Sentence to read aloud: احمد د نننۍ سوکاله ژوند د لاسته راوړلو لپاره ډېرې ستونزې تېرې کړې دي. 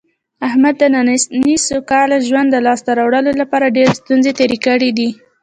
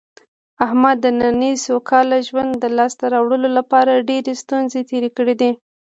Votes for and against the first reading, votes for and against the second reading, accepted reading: 1, 2, 2, 0, second